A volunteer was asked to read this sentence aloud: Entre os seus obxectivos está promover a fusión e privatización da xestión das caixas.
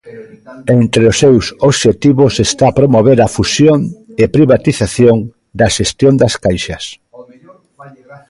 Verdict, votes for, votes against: rejected, 0, 2